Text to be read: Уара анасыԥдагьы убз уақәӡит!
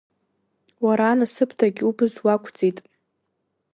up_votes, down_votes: 3, 1